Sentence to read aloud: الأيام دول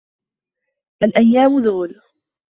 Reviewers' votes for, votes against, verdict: 1, 2, rejected